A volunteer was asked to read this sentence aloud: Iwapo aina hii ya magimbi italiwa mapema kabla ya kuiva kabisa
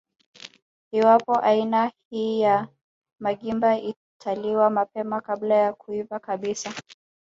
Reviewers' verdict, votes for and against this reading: accepted, 2, 1